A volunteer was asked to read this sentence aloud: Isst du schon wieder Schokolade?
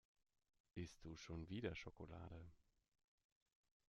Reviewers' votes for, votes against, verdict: 2, 0, accepted